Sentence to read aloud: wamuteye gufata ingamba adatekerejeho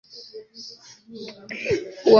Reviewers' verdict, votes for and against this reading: rejected, 0, 2